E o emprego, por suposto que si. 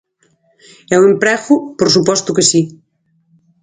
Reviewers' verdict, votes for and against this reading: accepted, 4, 0